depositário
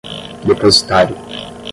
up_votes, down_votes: 10, 0